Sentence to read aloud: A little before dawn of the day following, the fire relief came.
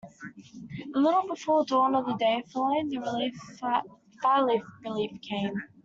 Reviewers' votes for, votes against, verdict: 0, 2, rejected